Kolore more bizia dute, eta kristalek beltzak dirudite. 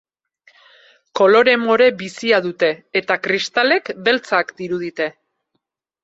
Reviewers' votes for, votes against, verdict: 4, 0, accepted